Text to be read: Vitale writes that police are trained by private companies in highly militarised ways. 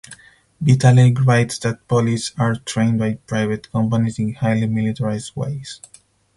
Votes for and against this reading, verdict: 4, 0, accepted